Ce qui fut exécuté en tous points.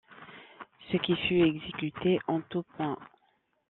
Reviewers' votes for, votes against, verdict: 1, 2, rejected